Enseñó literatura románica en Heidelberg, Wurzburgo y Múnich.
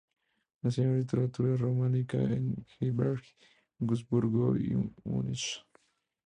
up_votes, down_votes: 2, 0